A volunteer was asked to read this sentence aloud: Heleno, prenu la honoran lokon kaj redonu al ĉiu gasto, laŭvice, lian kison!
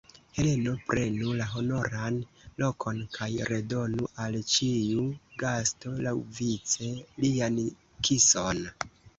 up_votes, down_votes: 2, 1